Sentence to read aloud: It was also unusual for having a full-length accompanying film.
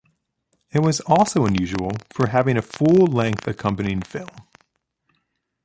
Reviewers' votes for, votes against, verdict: 3, 0, accepted